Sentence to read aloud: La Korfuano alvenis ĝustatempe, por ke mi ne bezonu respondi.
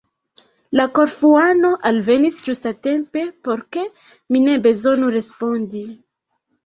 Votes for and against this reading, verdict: 1, 2, rejected